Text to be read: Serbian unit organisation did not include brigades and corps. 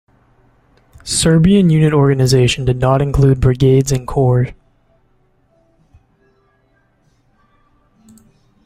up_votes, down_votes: 0, 2